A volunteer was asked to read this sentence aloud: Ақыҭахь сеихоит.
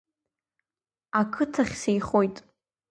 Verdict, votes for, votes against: accepted, 2, 0